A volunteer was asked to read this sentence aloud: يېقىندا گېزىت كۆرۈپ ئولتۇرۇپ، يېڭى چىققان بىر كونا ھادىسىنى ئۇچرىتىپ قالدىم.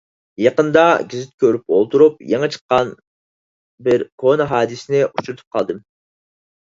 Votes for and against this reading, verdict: 4, 0, accepted